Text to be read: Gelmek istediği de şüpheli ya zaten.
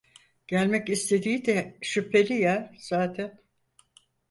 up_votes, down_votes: 4, 0